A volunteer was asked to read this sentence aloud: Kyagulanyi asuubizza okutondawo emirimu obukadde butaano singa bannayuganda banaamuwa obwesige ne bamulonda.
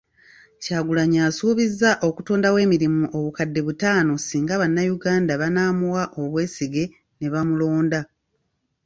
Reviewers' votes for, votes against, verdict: 2, 0, accepted